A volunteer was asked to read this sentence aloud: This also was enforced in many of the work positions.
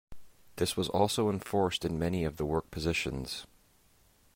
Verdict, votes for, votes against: accepted, 2, 0